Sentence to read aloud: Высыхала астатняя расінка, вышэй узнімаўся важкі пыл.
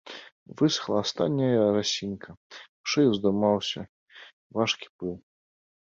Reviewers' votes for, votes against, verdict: 0, 2, rejected